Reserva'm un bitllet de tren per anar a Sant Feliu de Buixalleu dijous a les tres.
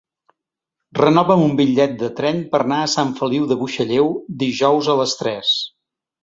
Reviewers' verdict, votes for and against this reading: rejected, 0, 3